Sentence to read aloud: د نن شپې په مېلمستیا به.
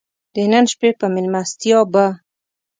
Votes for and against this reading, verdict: 2, 0, accepted